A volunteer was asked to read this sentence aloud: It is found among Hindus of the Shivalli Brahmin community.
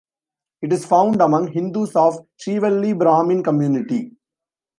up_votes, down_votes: 1, 2